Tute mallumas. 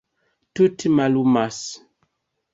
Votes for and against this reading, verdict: 2, 0, accepted